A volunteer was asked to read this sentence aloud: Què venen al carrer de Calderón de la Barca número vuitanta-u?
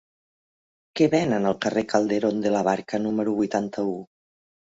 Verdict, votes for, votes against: rejected, 0, 2